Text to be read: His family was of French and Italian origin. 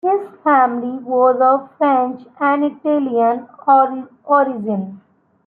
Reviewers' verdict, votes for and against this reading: rejected, 0, 2